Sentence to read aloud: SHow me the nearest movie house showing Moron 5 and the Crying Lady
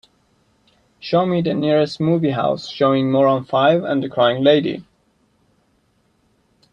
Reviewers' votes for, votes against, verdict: 0, 2, rejected